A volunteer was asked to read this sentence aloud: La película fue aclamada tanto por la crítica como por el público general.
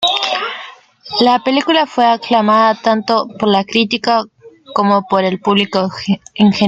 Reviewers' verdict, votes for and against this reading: rejected, 0, 2